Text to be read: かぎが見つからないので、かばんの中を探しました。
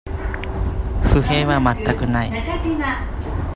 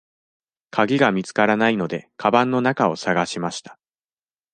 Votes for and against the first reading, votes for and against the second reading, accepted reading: 0, 2, 2, 0, second